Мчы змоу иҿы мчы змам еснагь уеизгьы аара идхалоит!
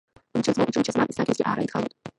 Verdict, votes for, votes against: rejected, 0, 2